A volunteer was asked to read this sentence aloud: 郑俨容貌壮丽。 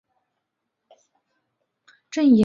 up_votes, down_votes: 1, 2